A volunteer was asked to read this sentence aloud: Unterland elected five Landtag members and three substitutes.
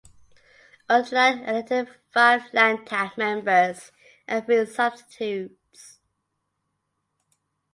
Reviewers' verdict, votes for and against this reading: accepted, 2, 1